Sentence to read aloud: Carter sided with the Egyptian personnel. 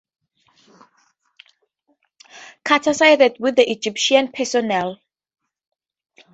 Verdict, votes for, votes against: accepted, 4, 0